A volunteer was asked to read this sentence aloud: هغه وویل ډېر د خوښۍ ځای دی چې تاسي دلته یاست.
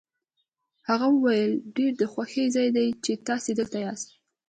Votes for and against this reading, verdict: 2, 0, accepted